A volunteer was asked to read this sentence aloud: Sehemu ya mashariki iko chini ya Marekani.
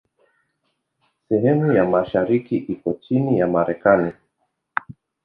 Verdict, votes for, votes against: accepted, 2, 0